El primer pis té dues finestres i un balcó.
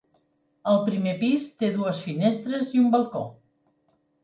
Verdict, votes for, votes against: accepted, 3, 0